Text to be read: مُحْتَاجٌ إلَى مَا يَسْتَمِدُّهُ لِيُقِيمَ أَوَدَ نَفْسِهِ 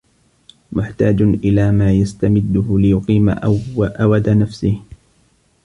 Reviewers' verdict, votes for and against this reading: rejected, 1, 2